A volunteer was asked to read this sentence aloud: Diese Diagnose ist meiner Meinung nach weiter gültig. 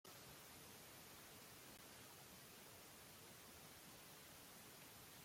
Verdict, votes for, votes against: rejected, 0, 2